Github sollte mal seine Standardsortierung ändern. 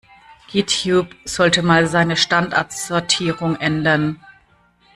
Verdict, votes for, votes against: rejected, 1, 2